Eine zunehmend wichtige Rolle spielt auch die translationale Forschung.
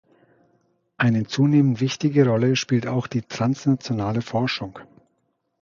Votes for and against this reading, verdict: 1, 2, rejected